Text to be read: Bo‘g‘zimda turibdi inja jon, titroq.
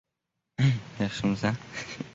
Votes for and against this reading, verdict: 0, 2, rejected